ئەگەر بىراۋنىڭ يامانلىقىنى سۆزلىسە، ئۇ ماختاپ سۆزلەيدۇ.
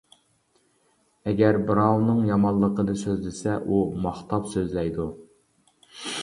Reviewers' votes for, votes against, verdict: 2, 0, accepted